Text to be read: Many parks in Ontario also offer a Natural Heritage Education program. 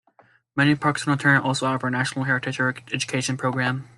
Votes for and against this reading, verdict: 1, 2, rejected